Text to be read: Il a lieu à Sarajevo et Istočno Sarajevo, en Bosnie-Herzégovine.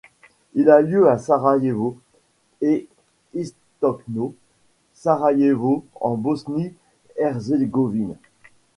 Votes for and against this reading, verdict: 2, 0, accepted